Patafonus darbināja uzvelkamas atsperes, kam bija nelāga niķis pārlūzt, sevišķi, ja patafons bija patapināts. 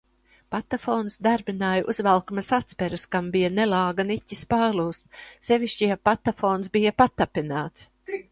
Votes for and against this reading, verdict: 2, 0, accepted